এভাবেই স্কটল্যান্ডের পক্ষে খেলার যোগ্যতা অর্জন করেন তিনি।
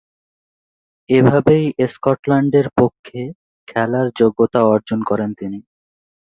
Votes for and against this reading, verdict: 3, 0, accepted